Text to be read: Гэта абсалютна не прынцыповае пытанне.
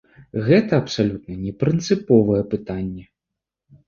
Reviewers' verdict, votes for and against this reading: accepted, 2, 0